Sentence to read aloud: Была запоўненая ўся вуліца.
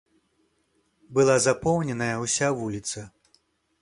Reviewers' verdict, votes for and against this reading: accepted, 2, 0